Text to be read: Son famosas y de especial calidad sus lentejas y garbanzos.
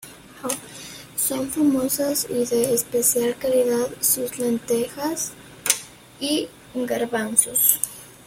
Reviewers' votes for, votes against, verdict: 2, 1, accepted